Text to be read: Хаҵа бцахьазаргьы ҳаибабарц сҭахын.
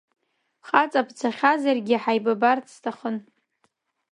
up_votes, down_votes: 2, 0